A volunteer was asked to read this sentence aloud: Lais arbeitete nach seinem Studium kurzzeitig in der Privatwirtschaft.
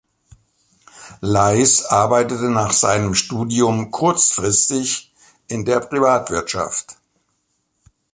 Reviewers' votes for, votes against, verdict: 0, 2, rejected